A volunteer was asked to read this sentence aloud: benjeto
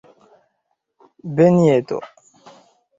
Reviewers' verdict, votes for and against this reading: accepted, 2, 0